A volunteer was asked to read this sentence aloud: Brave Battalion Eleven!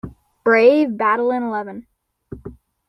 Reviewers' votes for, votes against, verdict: 2, 3, rejected